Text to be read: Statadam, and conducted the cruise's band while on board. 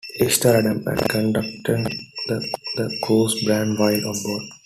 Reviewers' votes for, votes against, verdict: 0, 3, rejected